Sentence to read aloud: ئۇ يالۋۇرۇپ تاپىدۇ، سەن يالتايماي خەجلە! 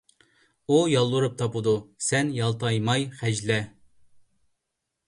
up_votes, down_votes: 2, 0